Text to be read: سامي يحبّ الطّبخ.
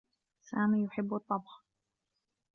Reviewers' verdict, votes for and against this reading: accepted, 2, 0